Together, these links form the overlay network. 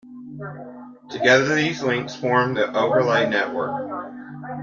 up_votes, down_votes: 1, 2